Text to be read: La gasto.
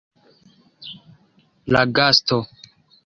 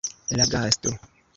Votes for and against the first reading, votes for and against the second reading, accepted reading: 2, 0, 1, 2, first